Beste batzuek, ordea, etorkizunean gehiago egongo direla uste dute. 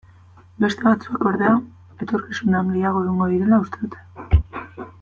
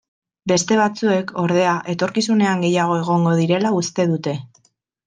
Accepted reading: second